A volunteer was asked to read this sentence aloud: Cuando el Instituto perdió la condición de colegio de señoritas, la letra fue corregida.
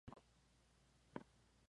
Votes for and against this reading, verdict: 0, 2, rejected